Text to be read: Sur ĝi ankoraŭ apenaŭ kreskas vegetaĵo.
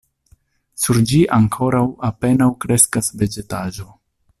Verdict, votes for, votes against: rejected, 0, 2